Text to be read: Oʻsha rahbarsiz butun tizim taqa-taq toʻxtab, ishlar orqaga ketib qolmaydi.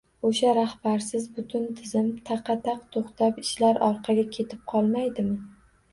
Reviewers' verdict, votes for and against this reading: rejected, 0, 2